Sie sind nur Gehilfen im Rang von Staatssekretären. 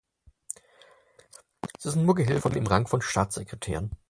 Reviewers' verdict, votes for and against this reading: rejected, 2, 4